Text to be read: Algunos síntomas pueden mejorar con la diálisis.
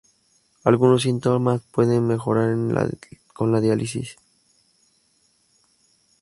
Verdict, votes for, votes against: rejected, 2, 2